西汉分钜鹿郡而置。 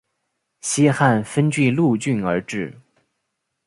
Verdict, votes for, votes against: accepted, 2, 0